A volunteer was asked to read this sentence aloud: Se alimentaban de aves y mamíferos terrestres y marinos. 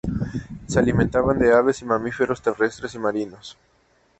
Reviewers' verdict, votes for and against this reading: accepted, 2, 0